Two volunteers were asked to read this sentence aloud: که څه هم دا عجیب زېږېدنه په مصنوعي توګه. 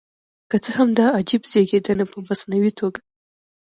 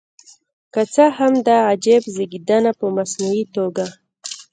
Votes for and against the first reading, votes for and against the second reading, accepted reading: 2, 0, 2, 3, first